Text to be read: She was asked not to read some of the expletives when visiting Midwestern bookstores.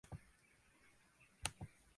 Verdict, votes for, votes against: rejected, 0, 2